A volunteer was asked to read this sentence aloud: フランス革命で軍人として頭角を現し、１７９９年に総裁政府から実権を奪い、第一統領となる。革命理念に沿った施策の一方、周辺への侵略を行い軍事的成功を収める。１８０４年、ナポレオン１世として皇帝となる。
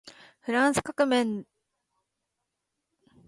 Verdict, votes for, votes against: rejected, 0, 2